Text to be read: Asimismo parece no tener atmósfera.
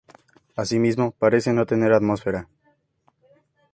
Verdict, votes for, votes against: accepted, 4, 0